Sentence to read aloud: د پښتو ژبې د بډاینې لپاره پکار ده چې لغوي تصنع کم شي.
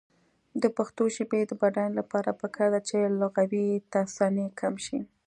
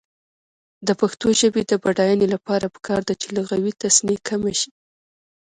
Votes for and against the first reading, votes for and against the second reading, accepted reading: 1, 2, 2, 0, second